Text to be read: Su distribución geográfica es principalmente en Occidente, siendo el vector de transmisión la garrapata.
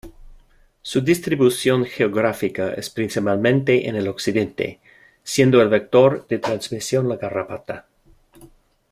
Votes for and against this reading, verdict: 1, 2, rejected